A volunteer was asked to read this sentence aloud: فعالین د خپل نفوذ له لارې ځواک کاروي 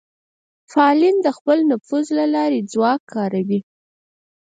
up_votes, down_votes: 2, 4